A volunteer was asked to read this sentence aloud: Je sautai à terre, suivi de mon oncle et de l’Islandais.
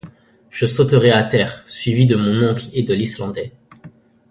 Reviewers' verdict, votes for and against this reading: rejected, 1, 2